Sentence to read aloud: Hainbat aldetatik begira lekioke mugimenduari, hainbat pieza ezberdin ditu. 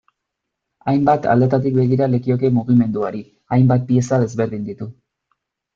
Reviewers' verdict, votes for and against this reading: accepted, 2, 0